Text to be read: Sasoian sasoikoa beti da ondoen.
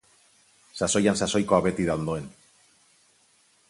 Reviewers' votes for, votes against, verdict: 4, 0, accepted